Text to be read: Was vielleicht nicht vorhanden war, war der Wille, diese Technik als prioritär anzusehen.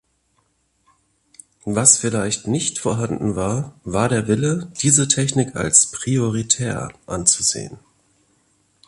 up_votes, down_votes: 2, 0